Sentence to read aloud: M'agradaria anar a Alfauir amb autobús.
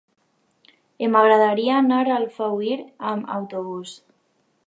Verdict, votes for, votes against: accepted, 2, 0